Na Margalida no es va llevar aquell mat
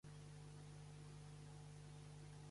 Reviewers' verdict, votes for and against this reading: rejected, 1, 2